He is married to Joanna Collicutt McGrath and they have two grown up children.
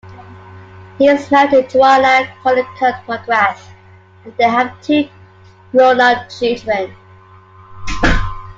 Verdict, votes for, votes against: accepted, 2, 0